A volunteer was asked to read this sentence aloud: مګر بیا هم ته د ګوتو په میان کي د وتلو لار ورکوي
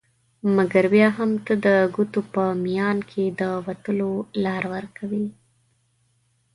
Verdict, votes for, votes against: accepted, 2, 0